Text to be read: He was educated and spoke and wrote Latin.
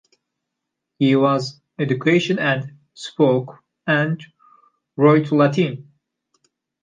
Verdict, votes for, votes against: rejected, 0, 2